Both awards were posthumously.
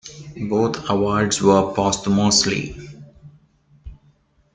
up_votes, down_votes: 1, 2